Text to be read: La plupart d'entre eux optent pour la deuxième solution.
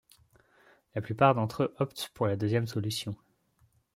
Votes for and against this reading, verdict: 2, 0, accepted